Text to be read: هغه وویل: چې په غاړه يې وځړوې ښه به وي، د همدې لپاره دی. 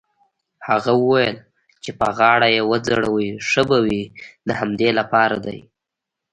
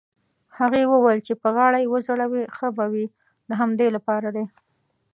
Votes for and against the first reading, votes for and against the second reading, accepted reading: 2, 0, 0, 2, first